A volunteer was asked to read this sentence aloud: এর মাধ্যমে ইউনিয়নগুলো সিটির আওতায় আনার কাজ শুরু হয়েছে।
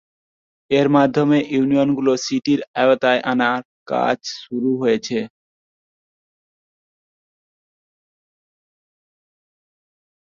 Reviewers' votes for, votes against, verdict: 3, 1, accepted